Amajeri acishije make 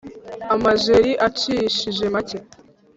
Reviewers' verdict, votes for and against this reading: accepted, 3, 0